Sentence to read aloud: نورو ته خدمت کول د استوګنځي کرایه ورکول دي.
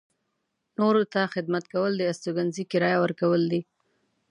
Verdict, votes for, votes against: accepted, 2, 0